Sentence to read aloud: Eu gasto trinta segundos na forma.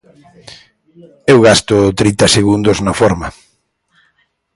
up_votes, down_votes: 2, 0